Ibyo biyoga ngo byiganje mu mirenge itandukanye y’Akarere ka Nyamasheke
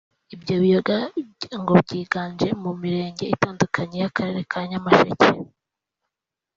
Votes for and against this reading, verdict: 1, 2, rejected